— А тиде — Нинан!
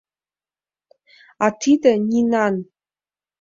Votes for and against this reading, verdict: 2, 0, accepted